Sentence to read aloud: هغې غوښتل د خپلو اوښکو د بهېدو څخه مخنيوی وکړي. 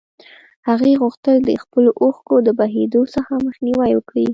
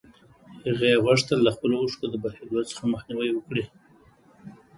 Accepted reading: second